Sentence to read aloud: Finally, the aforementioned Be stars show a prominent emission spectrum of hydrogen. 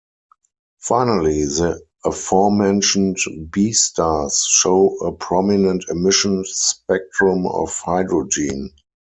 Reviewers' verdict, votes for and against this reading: accepted, 4, 0